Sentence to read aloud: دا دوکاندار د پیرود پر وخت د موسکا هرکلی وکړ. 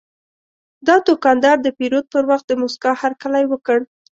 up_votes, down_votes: 2, 0